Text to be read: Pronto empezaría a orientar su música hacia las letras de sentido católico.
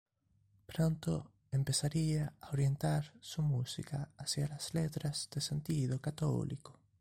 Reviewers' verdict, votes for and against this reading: accepted, 2, 1